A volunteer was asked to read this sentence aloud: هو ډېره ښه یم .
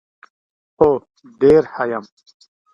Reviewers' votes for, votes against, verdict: 2, 1, accepted